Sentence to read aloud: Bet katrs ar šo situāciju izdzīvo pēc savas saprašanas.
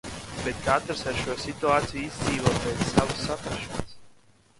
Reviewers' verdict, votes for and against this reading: rejected, 1, 2